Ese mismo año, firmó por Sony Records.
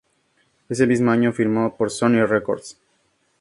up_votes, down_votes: 4, 2